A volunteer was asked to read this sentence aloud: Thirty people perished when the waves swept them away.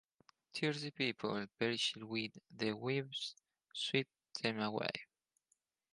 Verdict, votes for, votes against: rejected, 0, 2